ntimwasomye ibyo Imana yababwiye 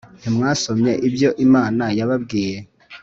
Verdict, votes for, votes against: accepted, 3, 0